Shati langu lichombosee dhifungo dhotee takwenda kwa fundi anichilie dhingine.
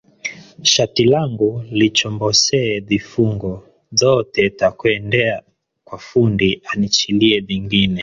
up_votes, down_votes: 1, 2